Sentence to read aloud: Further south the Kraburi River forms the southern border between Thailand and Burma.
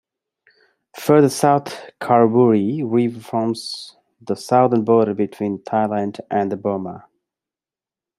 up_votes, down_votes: 1, 2